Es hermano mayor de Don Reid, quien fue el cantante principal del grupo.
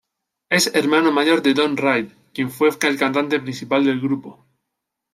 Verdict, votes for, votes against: accepted, 2, 1